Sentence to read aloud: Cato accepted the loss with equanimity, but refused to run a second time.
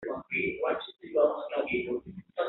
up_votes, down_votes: 0, 2